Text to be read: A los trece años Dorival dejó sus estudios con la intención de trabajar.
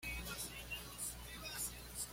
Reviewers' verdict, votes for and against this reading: rejected, 1, 2